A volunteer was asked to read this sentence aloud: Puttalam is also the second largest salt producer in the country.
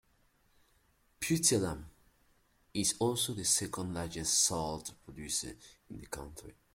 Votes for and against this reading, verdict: 2, 0, accepted